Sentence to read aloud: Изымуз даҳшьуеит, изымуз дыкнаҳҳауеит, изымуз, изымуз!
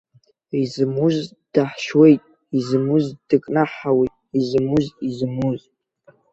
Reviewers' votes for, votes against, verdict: 4, 0, accepted